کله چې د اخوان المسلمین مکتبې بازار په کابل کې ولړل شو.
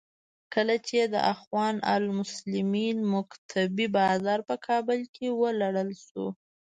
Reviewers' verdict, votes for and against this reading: rejected, 0, 2